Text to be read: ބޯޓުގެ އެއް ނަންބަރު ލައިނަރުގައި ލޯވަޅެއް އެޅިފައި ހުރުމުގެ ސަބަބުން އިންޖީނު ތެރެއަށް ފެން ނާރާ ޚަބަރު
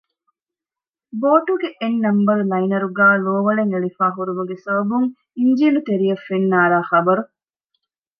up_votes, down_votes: 2, 0